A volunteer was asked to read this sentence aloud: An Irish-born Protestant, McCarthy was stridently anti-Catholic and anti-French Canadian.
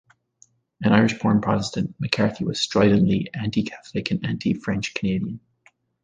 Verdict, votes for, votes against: accepted, 2, 0